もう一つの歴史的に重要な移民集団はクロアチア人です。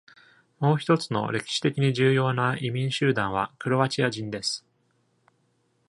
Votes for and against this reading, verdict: 2, 0, accepted